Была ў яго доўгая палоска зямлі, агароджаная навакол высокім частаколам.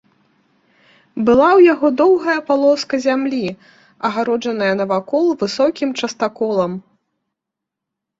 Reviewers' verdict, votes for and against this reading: accepted, 3, 0